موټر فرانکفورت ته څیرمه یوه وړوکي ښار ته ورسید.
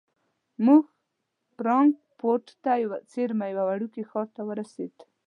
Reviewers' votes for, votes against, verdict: 1, 2, rejected